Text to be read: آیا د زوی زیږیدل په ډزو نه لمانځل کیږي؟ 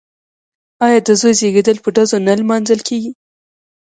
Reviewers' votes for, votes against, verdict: 2, 3, rejected